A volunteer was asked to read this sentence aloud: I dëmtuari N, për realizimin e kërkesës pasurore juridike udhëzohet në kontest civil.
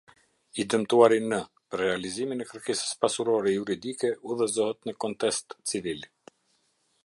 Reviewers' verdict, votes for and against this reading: accepted, 2, 0